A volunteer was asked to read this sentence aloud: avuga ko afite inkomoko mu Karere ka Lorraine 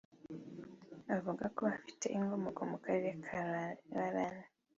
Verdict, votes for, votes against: rejected, 0, 2